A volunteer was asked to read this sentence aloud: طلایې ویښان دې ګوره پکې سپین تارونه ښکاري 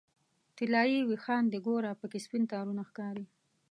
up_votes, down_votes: 2, 0